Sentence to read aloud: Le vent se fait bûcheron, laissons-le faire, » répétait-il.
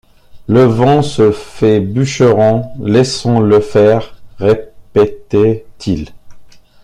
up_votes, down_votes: 1, 2